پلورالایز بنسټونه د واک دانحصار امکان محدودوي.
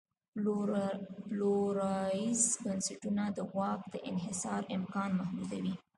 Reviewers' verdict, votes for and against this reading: accepted, 2, 0